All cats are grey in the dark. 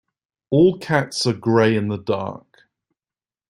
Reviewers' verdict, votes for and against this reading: accepted, 2, 0